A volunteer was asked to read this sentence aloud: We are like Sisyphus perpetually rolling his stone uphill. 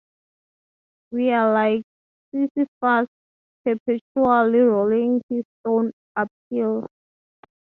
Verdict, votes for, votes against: accepted, 3, 0